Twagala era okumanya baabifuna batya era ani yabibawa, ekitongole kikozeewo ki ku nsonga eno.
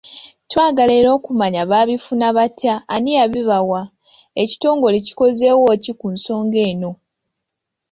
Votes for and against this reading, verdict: 0, 2, rejected